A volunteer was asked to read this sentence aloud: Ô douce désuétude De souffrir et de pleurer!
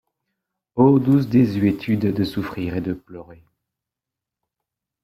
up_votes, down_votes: 2, 0